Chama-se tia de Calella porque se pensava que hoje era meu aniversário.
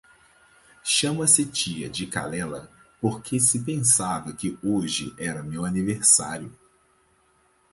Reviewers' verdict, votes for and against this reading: accepted, 4, 0